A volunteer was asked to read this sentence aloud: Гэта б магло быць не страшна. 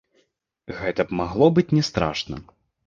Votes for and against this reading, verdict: 0, 2, rejected